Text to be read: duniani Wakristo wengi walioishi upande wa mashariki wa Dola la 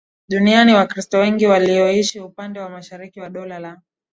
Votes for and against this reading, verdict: 2, 1, accepted